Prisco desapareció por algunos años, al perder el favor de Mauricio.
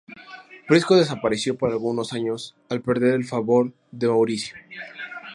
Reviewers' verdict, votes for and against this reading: rejected, 2, 2